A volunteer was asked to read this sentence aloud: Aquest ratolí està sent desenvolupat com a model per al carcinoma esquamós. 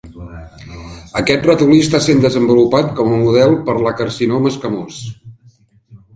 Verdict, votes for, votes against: rejected, 0, 3